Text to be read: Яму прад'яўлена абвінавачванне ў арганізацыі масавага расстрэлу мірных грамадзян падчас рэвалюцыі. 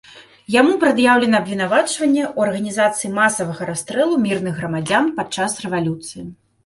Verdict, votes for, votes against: accepted, 2, 0